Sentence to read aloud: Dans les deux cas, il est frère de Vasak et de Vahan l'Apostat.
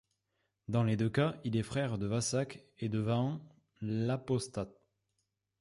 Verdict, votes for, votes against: accepted, 2, 1